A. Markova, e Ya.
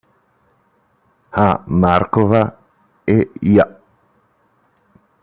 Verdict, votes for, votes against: rejected, 1, 2